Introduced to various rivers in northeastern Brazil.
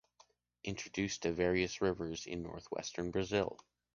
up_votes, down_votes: 1, 2